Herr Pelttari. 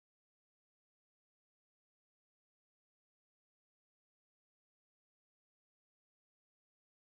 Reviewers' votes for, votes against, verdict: 0, 2, rejected